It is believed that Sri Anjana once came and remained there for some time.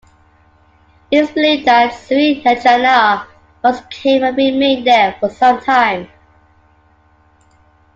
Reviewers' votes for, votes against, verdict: 2, 0, accepted